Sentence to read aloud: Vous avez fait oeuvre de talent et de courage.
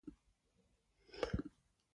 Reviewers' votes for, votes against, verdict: 1, 2, rejected